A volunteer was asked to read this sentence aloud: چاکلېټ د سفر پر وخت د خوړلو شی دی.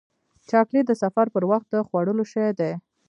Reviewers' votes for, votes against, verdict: 2, 1, accepted